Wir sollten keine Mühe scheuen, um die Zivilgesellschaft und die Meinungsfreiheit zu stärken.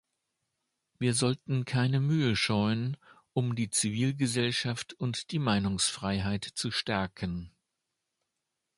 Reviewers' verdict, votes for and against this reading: accepted, 2, 0